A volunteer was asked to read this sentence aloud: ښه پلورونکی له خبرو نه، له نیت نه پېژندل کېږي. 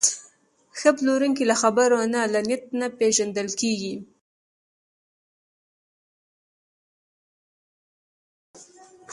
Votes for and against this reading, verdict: 1, 2, rejected